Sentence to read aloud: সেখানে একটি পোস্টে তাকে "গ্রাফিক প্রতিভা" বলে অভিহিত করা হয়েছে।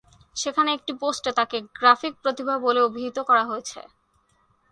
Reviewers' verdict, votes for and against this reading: accepted, 2, 0